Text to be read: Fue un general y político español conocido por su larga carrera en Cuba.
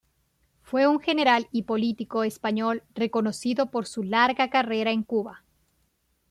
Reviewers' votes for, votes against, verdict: 0, 2, rejected